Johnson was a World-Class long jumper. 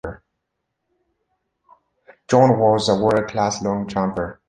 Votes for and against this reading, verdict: 1, 2, rejected